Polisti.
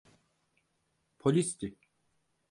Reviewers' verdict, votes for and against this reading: accepted, 4, 0